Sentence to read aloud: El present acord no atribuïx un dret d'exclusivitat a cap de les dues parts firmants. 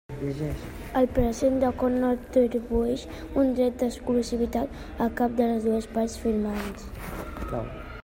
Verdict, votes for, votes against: rejected, 0, 2